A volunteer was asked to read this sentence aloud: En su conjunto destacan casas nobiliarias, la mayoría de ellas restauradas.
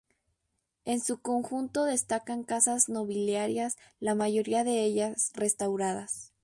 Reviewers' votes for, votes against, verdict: 2, 0, accepted